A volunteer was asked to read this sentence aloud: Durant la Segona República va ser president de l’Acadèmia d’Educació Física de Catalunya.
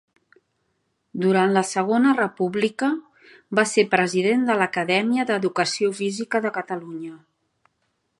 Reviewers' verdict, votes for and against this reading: accepted, 2, 0